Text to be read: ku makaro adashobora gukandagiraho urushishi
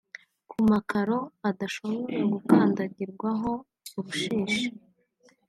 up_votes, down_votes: 0, 2